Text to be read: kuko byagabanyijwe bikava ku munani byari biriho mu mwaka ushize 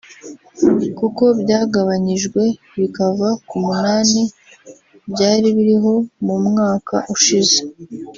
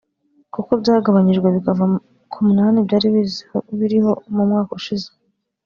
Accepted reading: first